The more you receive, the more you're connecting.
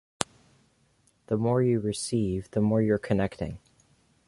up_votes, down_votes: 2, 0